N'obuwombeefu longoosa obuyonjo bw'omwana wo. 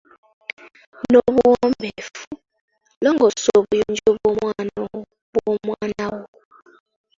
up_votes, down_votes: 1, 2